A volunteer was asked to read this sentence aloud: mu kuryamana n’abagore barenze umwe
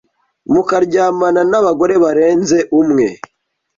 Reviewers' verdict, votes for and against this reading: rejected, 1, 2